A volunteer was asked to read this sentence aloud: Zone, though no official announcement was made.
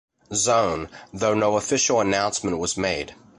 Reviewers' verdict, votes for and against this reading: accepted, 2, 0